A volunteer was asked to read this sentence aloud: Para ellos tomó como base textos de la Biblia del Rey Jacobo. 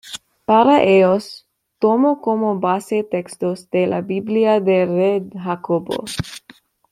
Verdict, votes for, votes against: rejected, 1, 2